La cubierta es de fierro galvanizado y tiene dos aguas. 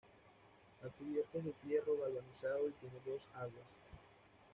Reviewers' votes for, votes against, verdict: 1, 2, rejected